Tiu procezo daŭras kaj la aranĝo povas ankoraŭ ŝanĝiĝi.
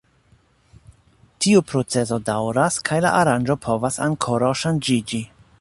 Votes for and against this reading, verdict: 0, 2, rejected